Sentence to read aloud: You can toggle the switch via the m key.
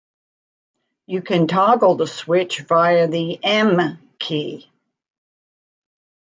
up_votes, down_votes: 1, 2